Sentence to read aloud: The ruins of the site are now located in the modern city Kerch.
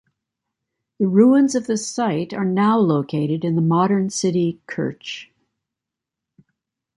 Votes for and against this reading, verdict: 1, 2, rejected